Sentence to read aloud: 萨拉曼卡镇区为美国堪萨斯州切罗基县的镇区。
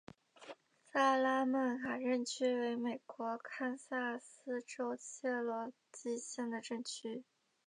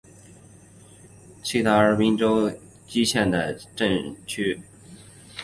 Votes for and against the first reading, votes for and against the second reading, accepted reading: 2, 0, 0, 2, first